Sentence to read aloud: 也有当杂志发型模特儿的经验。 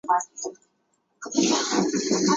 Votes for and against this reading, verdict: 0, 2, rejected